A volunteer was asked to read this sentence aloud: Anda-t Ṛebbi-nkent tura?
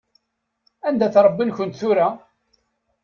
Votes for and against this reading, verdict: 2, 0, accepted